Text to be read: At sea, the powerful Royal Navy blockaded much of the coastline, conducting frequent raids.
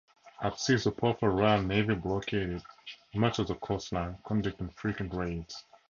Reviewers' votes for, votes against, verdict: 2, 0, accepted